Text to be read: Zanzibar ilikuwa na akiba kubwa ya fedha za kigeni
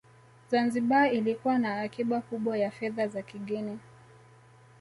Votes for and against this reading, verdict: 1, 2, rejected